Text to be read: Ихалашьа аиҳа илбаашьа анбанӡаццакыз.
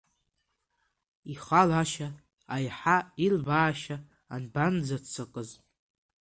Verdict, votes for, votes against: rejected, 4, 6